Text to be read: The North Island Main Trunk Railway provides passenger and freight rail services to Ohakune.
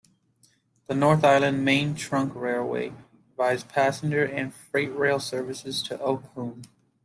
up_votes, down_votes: 1, 2